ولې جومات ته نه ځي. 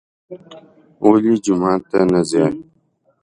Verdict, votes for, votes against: accepted, 2, 0